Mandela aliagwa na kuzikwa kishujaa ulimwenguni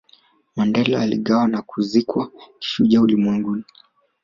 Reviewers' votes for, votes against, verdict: 1, 2, rejected